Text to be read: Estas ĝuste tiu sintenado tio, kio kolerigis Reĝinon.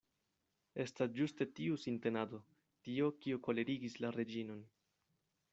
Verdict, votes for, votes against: rejected, 0, 2